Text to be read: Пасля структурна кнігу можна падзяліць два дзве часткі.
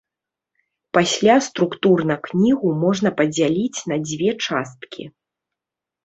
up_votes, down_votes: 0, 2